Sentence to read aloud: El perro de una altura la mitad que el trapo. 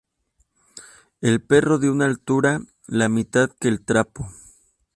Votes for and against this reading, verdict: 2, 2, rejected